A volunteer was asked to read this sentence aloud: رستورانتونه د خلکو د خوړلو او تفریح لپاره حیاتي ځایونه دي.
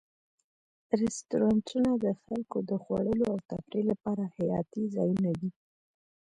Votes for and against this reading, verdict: 1, 2, rejected